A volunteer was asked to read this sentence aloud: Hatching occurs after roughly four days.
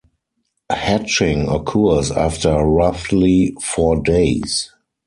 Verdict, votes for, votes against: rejected, 2, 4